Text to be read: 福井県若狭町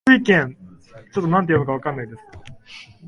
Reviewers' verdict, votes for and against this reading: rejected, 0, 2